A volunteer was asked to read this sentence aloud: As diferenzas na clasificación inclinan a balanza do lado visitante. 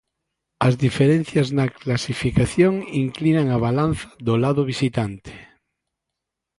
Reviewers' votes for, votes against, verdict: 0, 2, rejected